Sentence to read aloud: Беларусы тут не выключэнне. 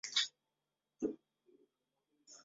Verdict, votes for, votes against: rejected, 0, 2